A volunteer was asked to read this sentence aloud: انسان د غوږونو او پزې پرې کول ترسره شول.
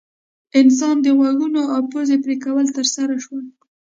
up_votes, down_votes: 2, 0